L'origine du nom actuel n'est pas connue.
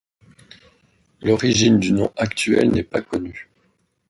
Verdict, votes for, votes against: accepted, 2, 0